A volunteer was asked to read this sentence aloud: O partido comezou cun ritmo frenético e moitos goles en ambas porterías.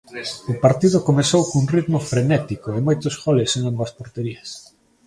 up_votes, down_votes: 2, 1